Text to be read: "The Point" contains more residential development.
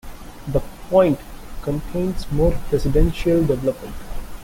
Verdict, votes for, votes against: rejected, 0, 2